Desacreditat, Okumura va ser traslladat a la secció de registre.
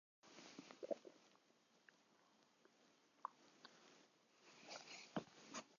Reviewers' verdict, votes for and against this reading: rejected, 0, 2